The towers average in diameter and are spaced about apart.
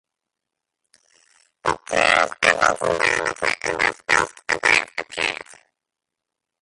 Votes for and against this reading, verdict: 0, 2, rejected